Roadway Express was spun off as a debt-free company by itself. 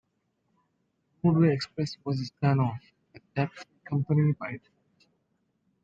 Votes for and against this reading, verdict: 0, 2, rejected